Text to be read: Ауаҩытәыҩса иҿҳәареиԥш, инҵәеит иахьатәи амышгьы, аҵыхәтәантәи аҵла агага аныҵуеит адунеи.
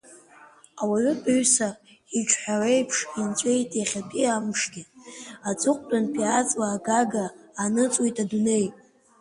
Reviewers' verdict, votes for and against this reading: rejected, 1, 2